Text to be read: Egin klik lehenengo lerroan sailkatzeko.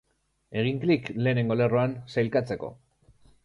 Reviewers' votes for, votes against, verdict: 2, 0, accepted